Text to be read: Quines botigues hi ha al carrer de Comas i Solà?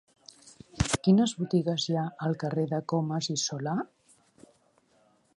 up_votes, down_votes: 1, 2